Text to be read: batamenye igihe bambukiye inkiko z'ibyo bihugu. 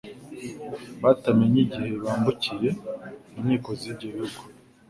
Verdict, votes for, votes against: accepted, 3, 0